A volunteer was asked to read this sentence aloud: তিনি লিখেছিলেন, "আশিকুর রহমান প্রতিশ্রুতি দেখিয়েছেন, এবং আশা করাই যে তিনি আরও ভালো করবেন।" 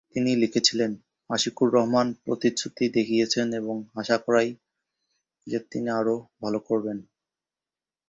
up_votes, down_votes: 2, 1